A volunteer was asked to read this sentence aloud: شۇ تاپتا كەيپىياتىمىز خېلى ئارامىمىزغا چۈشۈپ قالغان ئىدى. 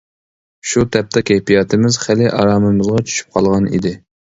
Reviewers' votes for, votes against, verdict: 2, 0, accepted